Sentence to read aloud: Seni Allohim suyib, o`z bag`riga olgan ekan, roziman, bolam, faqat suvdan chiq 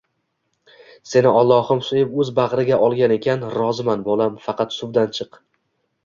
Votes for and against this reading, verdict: 2, 0, accepted